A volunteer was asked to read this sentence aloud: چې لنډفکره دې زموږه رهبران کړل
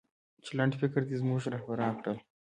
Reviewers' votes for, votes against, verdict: 2, 0, accepted